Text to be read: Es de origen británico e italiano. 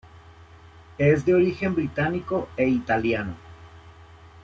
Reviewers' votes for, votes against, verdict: 2, 0, accepted